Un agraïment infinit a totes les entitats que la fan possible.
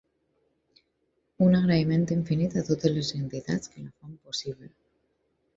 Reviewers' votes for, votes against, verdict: 2, 4, rejected